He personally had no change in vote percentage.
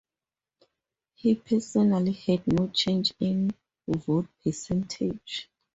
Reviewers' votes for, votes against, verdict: 4, 2, accepted